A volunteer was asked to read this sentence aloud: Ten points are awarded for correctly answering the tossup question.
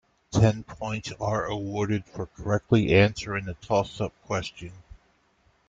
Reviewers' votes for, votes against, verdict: 2, 1, accepted